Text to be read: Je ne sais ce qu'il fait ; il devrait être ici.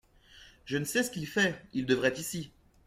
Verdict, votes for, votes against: rejected, 1, 2